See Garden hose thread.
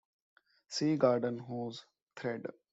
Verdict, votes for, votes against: accepted, 2, 0